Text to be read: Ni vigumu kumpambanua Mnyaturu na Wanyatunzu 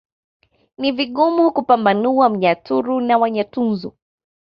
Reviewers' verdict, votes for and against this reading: accepted, 2, 0